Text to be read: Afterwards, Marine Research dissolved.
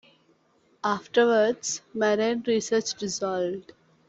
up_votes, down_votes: 3, 2